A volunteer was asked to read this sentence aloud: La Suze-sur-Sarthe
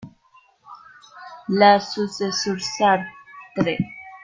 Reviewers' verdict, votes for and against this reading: rejected, 1, 2